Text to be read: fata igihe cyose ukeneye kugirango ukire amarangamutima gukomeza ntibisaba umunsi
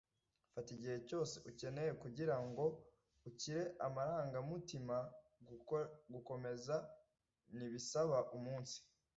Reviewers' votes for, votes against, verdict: 1, 2, rejected